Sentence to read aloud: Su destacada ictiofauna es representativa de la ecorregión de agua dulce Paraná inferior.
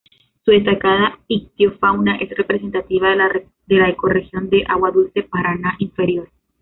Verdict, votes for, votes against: rejected, 0, 2